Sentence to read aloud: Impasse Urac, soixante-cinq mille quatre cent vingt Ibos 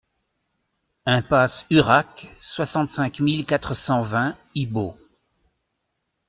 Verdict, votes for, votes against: accepted, 2, 0